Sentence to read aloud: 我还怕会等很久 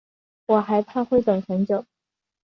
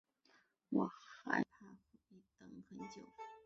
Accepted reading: first